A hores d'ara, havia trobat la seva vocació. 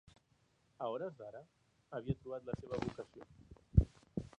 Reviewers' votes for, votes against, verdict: 0, 2, rejected